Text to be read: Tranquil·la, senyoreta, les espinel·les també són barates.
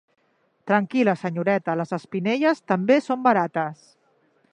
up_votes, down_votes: 1, 2